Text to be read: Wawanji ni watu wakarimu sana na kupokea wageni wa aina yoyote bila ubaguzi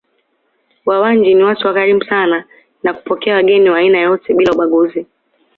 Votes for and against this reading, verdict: 2, 0, accepted